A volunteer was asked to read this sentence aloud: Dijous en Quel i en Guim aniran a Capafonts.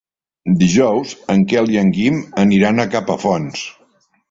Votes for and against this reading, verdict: 3, 0, accepted